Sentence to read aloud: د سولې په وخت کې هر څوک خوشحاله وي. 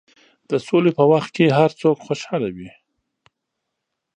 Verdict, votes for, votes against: accepted, 2, 0